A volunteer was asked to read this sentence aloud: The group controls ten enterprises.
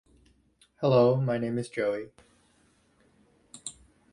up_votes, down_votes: 0, 2